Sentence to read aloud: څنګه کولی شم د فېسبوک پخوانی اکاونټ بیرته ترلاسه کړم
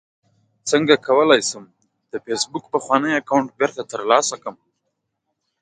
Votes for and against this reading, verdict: 2, 0, accepted